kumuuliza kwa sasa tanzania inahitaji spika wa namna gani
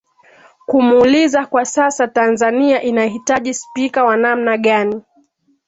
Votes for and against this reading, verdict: 2, 0, accepted